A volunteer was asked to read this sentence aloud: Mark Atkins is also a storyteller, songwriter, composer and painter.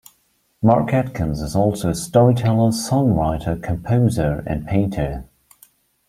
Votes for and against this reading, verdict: 2, 0, accepted